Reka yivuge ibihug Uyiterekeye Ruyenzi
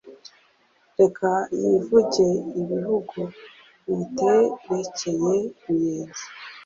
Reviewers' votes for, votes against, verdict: 2, 0, accepted